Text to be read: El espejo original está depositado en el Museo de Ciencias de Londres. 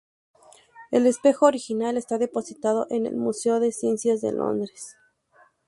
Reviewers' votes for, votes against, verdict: 2, 0, accepted